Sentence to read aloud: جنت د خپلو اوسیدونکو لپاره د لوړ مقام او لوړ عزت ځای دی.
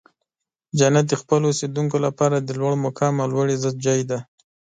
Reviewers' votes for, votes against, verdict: 4, 1, accepted